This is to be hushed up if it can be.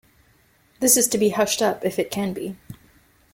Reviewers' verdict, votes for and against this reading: accepted, 2, 0